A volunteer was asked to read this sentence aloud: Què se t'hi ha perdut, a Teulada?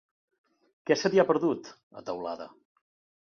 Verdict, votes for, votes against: accepted, 2, 0